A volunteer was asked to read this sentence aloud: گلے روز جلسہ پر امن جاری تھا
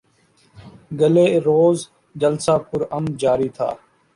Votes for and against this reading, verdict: 0, 2, rejected